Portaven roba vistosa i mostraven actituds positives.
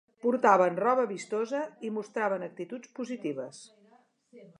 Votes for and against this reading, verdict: 2, 0, accepted